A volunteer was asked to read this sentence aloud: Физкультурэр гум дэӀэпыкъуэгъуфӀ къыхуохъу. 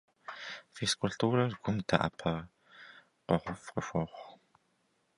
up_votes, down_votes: 0, 2